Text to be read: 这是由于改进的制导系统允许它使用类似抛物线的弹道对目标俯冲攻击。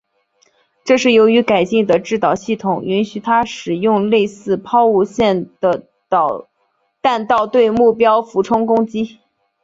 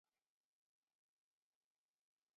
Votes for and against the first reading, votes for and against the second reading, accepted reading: 2, 1, 1, 2, first